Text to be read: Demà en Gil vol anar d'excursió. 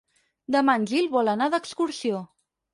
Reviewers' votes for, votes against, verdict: 6, 0, accepted